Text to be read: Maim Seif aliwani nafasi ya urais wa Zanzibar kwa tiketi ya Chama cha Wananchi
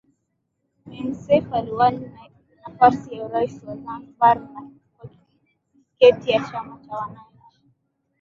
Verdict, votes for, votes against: accepted, 2, 0